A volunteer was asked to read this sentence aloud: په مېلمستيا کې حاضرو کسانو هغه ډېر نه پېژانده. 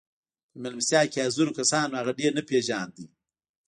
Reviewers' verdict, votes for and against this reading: rejected, 1, 2